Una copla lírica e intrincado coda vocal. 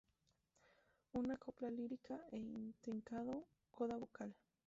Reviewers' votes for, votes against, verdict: 0, 2, rejected